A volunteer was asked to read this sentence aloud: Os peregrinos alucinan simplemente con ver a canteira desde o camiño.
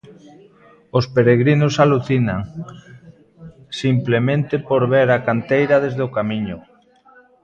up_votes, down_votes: 0, 2